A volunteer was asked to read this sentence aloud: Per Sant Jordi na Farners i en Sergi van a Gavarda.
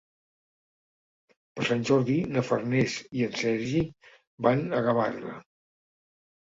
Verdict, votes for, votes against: accepted, 2, 0